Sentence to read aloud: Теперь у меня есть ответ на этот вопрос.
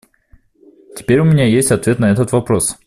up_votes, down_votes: 2, 0